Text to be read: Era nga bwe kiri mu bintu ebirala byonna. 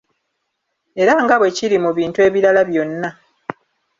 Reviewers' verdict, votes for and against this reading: accepted, 3, 0